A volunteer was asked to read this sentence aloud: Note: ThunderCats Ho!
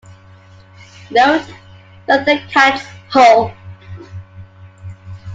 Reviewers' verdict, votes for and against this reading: accepted, 2, 1